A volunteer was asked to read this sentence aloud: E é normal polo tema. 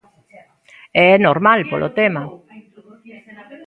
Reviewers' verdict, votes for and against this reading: rejected, 1, 2